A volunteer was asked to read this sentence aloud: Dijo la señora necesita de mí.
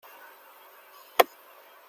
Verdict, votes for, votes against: rejected, 0, 2